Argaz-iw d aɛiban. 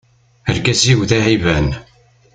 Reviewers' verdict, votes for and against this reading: accepted, 2, 0